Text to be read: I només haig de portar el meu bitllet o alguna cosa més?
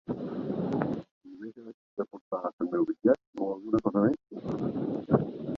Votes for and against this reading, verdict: 1, 2, rejected